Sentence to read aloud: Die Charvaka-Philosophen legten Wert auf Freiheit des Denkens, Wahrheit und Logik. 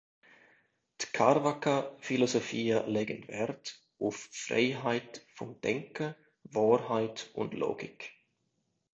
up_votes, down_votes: 0, 3